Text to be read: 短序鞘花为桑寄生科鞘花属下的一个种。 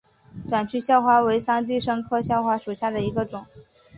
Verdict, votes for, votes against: accepted, 4, 0